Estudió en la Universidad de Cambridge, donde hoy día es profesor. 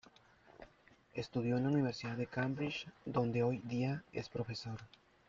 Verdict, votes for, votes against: rejected, 0, 2